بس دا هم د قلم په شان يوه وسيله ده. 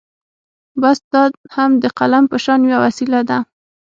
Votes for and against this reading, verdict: 6, 0, accepted